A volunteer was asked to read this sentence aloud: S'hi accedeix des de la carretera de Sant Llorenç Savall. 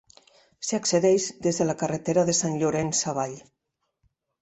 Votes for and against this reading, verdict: 2, 0, accepted